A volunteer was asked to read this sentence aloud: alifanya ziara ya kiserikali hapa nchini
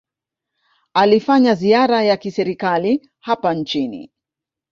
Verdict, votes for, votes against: rejected, 1, 2